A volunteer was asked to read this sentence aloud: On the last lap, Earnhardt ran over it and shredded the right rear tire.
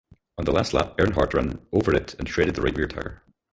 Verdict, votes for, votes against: rejected, 2, 6